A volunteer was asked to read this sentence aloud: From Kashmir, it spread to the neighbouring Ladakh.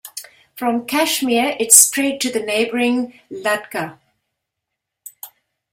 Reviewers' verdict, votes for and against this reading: rejected, 1, 2